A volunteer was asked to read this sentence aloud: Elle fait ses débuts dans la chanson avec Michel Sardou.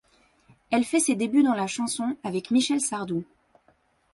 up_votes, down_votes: 3, 0